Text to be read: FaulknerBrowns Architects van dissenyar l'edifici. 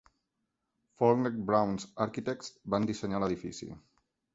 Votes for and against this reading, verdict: 4, 0, accepted